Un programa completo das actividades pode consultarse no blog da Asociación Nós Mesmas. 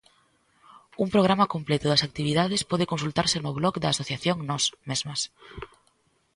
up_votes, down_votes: 2, 0